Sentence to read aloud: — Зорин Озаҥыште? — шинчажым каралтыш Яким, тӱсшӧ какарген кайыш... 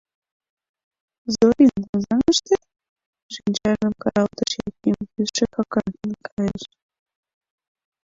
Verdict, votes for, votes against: rejected, 0, 2